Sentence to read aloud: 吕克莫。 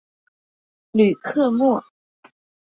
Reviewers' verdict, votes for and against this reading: accepted, 2, 0